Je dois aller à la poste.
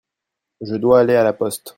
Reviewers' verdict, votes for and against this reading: accepted, 2, 0